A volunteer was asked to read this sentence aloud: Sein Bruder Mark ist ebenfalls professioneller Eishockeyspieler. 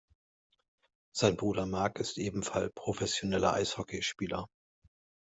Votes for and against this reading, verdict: 0, 2, rejected